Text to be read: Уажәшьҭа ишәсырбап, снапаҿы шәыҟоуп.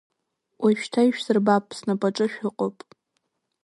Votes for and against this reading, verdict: 1, 2, rejected